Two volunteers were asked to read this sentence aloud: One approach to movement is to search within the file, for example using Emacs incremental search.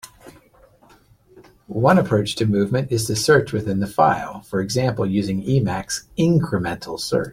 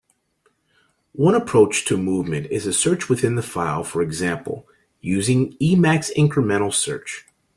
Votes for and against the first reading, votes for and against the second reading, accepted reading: 2, 1, 0, 2, first